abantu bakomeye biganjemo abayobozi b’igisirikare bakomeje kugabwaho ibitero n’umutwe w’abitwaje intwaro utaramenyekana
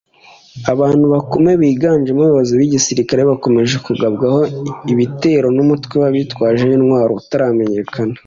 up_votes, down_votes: 2, 0